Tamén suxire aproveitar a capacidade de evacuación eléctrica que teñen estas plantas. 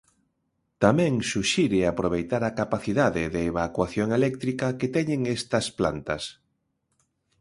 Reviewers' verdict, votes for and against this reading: accepted, 2, 0